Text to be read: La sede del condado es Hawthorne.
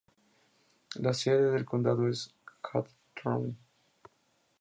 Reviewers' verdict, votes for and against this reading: rejected, 0, 2